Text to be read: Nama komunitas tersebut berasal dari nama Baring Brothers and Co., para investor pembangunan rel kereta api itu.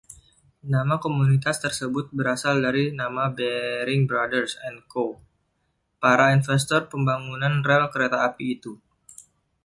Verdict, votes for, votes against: rejected, 1, 2